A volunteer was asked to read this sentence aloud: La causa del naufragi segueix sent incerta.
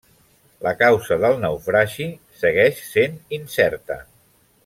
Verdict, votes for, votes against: rejected, 1, 2